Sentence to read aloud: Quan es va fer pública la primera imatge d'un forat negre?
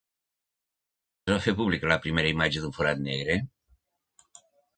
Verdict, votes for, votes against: rejected, 0, 2